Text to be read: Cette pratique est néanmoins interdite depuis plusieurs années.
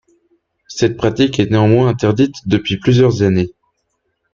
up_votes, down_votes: 2, 1